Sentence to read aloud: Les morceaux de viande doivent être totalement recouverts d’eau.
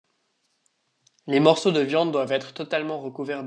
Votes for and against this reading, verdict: 1, 2, rejected